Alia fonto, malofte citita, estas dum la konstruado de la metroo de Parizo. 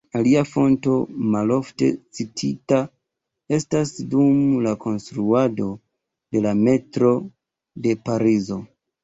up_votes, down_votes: 1, 2